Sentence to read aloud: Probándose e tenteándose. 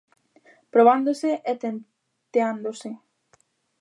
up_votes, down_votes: 0, 2